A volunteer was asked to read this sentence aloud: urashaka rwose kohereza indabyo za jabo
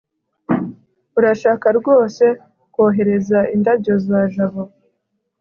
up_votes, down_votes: 2, 0